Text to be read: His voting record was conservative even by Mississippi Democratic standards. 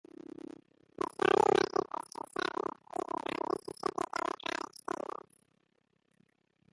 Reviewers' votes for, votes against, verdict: 0, 2, rejected